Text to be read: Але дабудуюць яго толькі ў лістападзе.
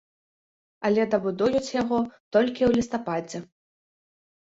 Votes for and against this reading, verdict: 2, 0, accepted